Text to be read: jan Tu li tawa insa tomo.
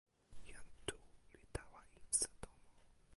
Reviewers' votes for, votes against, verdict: 1, 2, rejected